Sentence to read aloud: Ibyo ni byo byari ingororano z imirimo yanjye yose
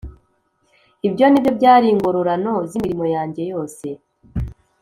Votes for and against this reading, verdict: 3, 0, accepted